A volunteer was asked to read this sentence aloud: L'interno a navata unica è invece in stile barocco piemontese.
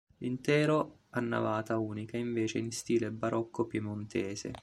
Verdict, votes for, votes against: rejected, 0, 2